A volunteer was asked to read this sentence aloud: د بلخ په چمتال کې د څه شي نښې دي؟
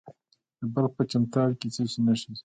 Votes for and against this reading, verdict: 1, 2, rejected